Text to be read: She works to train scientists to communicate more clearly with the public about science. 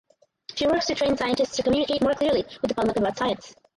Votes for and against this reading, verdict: 0, 4, rejected